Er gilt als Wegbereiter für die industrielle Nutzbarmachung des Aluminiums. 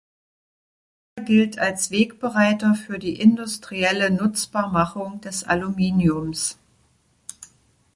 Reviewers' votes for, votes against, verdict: 1, 2, rejected